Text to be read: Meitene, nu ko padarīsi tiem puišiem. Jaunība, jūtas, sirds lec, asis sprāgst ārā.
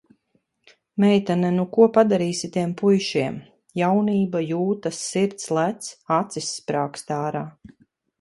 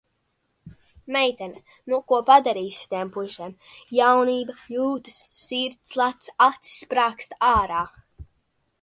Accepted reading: first